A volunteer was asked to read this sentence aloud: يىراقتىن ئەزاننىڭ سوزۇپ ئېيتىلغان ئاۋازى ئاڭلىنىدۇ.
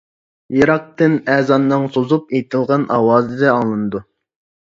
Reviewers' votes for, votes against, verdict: 2, 0, accepted